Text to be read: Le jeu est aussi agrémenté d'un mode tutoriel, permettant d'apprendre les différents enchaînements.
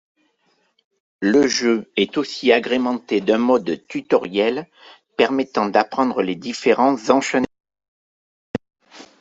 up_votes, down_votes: 1, 2